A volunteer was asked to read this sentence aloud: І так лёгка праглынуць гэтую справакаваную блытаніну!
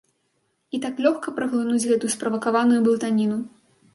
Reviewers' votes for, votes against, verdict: 4, 0, accepted